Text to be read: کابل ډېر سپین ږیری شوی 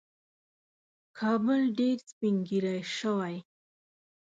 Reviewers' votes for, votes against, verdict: 2, 0, accepted